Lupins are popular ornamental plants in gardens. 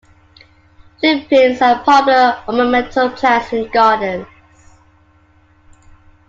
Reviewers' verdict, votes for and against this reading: accepted, 2, 0